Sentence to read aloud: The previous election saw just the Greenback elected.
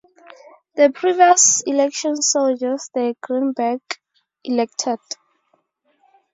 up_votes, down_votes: 0, 2